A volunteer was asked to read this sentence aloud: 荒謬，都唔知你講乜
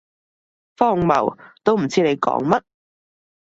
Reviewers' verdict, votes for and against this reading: accepted, 2, 0